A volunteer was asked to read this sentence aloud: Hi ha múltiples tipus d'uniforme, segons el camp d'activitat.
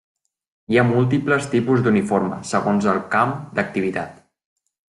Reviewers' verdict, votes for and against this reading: accepted, 2, 0